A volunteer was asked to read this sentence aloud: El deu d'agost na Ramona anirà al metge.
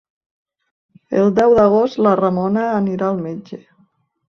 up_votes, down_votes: 1, 2